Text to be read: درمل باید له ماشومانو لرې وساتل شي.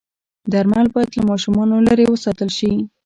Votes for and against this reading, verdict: 1, 2, rejected